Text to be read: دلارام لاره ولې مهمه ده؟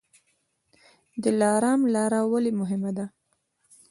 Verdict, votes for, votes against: accepted, 2, 0